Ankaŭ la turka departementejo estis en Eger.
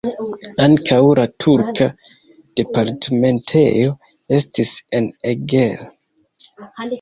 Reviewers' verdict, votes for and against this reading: accepted, 2, 0